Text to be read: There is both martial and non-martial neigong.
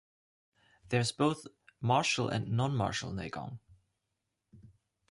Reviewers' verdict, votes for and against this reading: accepted, 3, 1